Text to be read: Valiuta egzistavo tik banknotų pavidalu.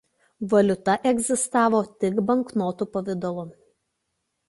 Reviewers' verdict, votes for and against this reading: accepted, 2, 0